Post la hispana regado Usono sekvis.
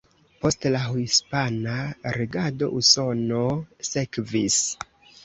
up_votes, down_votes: 2, 1